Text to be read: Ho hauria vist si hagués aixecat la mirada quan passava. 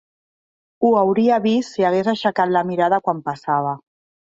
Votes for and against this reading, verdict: 3, 0, accepted